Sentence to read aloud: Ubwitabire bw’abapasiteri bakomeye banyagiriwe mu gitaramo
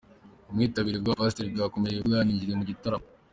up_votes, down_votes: 2, 1